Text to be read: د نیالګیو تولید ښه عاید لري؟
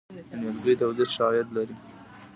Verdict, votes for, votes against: rejected, 1, 2